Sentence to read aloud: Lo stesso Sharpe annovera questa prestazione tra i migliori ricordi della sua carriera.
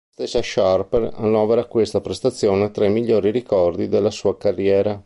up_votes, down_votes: 1, 2